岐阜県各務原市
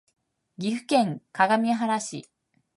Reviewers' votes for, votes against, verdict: 2, 0, accepted